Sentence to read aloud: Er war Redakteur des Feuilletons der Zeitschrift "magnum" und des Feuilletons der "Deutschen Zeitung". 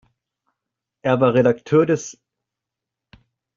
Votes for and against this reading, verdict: 0, 2, rejected